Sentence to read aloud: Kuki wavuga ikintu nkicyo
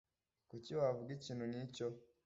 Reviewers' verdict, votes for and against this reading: accepted, 2, 0